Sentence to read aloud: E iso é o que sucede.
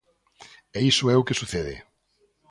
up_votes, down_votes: 2, 0